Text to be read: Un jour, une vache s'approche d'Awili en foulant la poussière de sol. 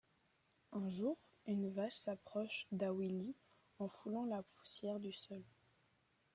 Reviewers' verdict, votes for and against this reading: accepted, 2, 1